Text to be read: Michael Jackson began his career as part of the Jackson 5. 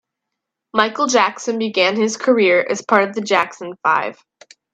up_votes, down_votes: 0, 2